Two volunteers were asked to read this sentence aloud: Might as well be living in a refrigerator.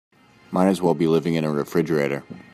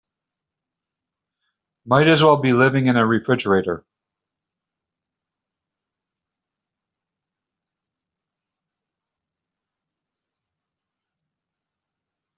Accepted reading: first